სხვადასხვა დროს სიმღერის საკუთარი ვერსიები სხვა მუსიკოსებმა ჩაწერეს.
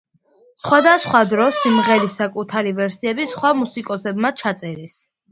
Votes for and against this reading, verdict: 1, 2, rejected